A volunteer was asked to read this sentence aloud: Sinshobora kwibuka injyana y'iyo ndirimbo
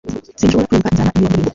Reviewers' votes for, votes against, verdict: 0, 2, rejected